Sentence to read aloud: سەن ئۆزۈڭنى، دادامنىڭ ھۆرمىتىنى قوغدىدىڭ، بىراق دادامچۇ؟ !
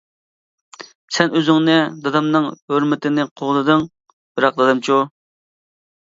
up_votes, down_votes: 2, 0